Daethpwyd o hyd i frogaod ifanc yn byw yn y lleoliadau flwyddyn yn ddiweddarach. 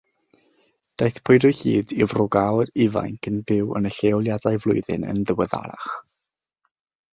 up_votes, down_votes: 3, 3